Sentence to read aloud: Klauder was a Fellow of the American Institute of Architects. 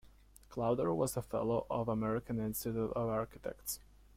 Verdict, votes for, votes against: accepted, 2, 0